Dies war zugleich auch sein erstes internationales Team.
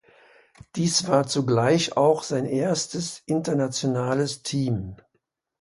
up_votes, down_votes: 2, 0